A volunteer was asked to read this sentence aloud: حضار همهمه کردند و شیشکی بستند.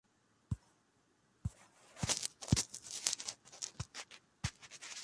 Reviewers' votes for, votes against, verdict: 0, 2, rejected